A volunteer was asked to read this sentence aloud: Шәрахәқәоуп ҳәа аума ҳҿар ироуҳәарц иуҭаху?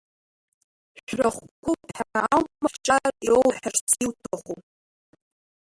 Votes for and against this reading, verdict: 0, 2, rejected